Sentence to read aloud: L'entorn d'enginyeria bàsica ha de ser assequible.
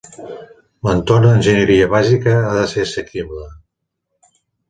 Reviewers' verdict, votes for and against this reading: rejected, 1, 2